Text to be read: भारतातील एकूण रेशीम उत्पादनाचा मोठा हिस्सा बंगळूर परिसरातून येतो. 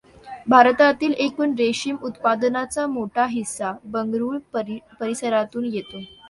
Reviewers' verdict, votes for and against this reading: accepted, 2, 0